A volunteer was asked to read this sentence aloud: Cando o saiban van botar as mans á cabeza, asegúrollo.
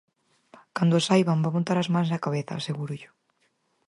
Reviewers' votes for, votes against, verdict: 4, 0, accepted